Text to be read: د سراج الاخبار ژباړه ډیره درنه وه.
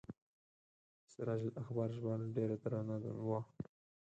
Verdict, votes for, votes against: rejected, 2, 4